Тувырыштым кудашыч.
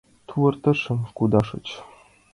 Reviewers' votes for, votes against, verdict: 1, 2, rejected